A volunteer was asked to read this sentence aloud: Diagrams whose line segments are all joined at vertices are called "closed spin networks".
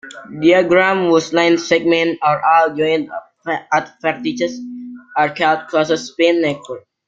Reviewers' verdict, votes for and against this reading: accepted, 2, 0